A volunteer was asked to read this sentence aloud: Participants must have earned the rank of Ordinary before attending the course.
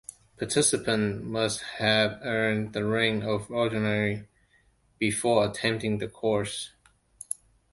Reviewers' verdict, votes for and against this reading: accepted, 2, 1